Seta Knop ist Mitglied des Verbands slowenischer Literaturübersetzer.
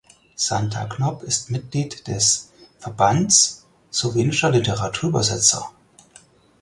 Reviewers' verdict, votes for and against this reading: rejected, 0, 4